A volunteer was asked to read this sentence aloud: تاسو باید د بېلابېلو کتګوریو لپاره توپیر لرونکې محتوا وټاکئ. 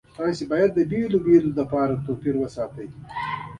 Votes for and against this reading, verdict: 1, 2, rejected